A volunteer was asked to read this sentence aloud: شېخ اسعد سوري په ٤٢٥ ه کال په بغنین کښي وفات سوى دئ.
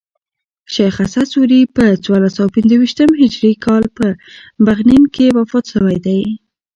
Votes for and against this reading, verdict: 0, 2, rejected